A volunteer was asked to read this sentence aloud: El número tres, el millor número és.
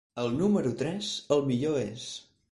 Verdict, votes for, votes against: rejected, 0, 4